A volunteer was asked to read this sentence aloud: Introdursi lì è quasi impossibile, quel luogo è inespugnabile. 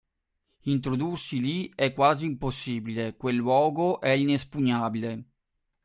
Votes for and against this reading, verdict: 3, 0, accepted